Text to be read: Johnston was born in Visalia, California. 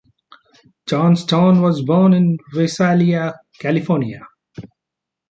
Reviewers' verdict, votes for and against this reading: accepted, 2, 0